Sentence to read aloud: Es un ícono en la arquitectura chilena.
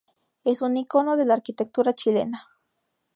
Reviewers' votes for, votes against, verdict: 2, 2, rejected